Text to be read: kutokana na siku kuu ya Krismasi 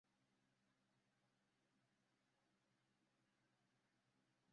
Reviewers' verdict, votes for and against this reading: rejected, 0, 2